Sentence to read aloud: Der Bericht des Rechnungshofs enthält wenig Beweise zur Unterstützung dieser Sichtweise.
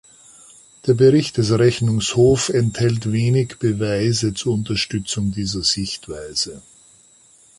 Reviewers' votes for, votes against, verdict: 1, 2, rejected